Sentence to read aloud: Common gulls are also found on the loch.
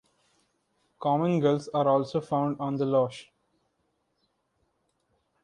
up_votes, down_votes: 2, 1